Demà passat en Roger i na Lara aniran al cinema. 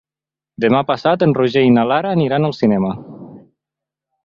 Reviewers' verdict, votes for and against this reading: accepted, 2, 0